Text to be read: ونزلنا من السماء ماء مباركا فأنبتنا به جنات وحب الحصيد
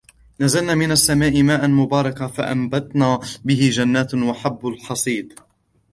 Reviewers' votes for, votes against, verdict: 0, 2, rejected